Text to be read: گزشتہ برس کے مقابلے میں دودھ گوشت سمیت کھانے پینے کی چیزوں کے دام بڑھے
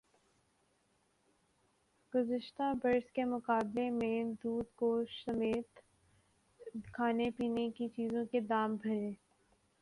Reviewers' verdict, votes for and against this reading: accepted, 12, 3